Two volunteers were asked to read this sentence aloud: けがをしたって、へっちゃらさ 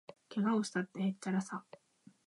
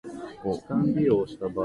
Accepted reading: first